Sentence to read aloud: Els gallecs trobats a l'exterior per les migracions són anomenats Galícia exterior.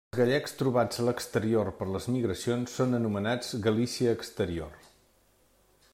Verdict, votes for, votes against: rejected, 1, 2